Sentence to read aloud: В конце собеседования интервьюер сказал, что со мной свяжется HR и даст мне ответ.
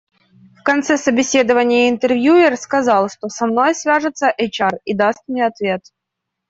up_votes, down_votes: 2, 0